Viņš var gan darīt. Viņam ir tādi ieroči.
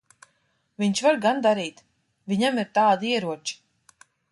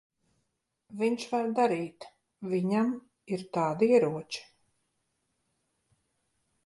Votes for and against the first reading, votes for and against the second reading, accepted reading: 2, 0, 0, 2, first